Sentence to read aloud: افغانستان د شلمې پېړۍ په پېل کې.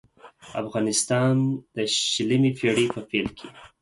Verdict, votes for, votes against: accepted, 4, 0